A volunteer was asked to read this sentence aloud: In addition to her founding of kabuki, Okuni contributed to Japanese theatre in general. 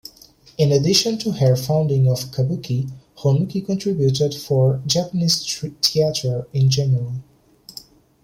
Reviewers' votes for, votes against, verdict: 0, 2, rejected